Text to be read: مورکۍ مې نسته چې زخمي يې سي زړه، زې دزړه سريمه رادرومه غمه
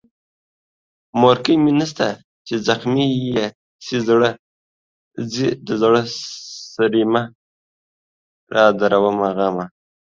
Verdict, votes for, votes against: accepted, 2, 1